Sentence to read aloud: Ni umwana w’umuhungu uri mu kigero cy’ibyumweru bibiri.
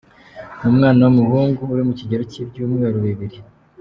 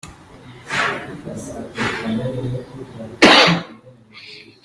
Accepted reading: first